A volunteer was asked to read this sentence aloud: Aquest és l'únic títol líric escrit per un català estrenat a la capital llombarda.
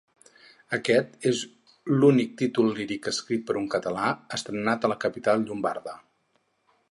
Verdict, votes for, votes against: accepted, 4, 0